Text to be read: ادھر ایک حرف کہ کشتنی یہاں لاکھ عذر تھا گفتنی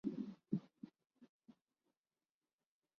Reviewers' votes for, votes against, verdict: 1, 2, rejected